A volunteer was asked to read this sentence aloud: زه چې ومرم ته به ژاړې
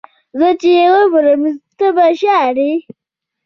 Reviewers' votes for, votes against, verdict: 1, 2, rejected